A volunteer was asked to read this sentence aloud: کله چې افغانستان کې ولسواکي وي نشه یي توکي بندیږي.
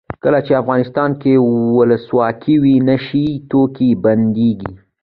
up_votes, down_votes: 2, 0